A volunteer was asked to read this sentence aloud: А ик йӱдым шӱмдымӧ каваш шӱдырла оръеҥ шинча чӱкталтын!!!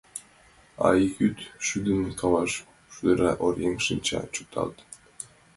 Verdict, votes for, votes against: rejected, 0, 2